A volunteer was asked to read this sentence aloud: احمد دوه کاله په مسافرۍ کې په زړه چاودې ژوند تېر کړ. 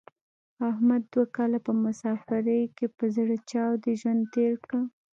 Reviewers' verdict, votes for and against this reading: rejected, 0, 2